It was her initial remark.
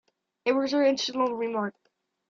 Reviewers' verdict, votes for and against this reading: rejected, 0, 2